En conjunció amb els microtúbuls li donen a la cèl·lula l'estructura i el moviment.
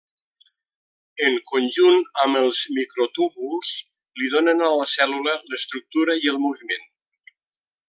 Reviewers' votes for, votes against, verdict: 0, 2, rejected